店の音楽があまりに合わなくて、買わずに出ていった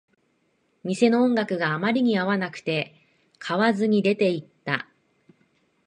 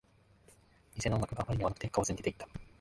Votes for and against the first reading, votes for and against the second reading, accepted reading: 2, 1, 0, 2, first